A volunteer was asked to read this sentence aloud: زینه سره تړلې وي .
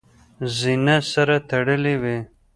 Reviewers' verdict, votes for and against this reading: accepted, 2, 1